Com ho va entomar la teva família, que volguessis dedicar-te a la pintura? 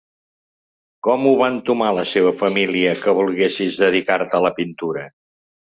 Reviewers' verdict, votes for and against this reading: rejected, 1, 2